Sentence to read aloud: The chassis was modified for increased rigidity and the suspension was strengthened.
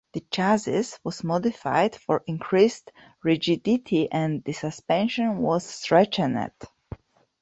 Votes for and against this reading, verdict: 0, 2, rejected